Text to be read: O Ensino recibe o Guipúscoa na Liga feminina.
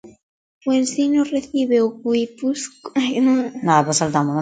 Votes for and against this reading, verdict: 0, 2, rejected